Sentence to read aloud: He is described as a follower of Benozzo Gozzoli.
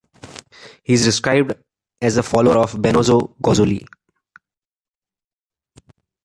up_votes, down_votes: 2, 1